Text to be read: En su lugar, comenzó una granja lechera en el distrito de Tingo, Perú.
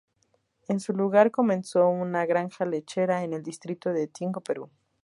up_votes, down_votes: 4, 0